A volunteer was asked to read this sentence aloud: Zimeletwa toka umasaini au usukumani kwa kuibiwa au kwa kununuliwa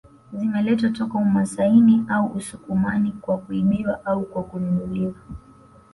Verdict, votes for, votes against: accepted, 2, 1